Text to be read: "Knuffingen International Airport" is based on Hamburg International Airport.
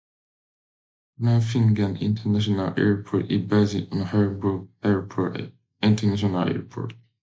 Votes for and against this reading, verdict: 0, 2, rejected